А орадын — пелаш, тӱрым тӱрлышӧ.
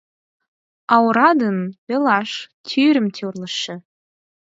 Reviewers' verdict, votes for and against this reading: rejected, 0, 4